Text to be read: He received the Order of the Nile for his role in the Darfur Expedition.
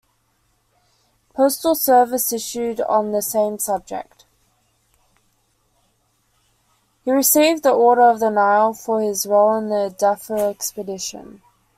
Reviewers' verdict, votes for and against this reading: rejected, 0, 2